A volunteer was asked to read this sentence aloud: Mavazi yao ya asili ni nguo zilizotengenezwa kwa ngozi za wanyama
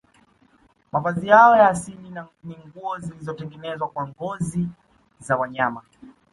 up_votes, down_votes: 2, 0